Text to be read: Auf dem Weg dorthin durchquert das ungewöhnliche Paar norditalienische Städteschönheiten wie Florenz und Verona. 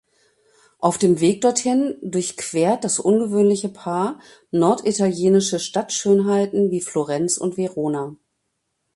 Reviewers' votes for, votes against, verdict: 0, 2, rejected